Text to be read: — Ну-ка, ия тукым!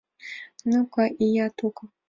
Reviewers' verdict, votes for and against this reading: accepted, 2, 0